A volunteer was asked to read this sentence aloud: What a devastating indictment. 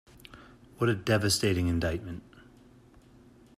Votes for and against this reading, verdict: 2, 0, accepted